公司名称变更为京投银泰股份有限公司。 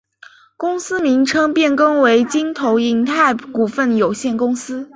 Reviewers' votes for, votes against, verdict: 2, 0, accepted